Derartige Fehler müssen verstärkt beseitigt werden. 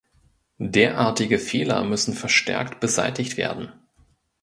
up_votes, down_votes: 2, 0